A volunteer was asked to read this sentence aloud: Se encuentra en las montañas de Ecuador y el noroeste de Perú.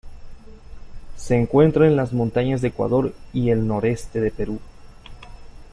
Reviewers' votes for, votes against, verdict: 2, 1, accepted